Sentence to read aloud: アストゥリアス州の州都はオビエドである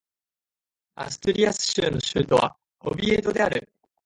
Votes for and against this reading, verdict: 2, 0, accepted